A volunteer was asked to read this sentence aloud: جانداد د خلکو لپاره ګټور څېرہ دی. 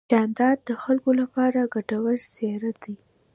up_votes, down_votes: 2, 0